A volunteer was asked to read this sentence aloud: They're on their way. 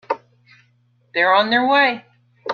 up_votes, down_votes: 1, 2